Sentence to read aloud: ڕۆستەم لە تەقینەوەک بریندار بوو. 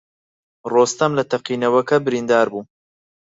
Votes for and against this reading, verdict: 4, 0, accepted